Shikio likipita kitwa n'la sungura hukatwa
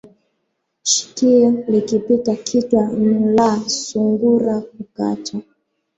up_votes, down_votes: 5, 0